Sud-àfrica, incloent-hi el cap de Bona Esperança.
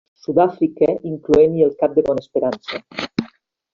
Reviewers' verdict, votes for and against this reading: rejected, 0, 2